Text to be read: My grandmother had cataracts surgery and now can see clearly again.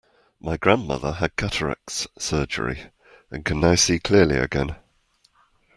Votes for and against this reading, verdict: 0, 2, rejected